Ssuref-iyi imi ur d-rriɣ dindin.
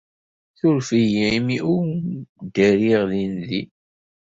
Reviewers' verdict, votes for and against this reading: rejected, 1, 2